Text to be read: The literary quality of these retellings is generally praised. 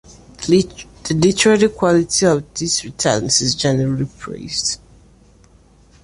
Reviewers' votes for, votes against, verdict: 0, 2, rejected